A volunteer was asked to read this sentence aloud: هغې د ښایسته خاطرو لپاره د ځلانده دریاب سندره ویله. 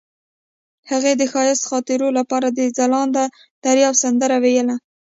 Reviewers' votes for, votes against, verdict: 2, 0, accepted